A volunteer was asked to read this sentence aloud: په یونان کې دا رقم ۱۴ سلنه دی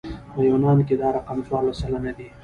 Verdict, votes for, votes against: rejected, 0, 2